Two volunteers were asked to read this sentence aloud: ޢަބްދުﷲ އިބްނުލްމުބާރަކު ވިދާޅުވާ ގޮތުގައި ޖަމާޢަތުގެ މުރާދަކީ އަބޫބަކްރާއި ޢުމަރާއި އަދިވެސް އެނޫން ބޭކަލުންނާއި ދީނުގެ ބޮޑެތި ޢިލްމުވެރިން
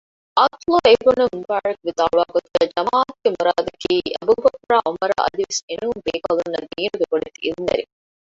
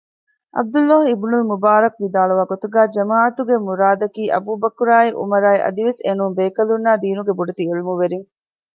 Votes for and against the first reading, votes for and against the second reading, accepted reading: 0, 2, 2, 0, second